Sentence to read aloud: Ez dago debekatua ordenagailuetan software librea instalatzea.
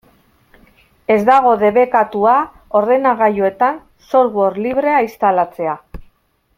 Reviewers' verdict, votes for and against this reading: accepted, 2, 0